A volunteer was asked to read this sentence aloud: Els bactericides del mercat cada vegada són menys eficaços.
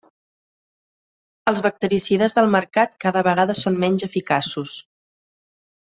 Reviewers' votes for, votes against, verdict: 3, 0, accepted